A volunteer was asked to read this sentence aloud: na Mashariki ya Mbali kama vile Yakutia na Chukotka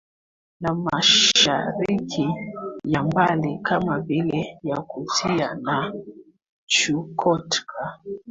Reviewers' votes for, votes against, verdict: 2, 1, accepted